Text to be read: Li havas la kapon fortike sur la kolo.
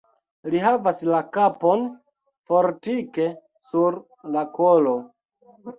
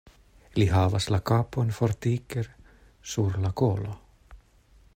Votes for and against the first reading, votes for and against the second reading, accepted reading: 1, 2, 2, 0, second